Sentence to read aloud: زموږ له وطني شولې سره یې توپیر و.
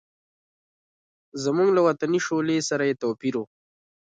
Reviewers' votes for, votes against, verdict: 1, 2, rejected